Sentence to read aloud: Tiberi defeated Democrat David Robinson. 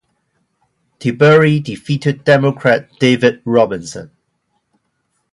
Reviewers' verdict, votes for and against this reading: rejected, 0, 2